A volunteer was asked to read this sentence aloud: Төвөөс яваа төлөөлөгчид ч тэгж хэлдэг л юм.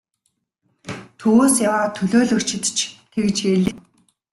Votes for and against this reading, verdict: 2, 0, accepted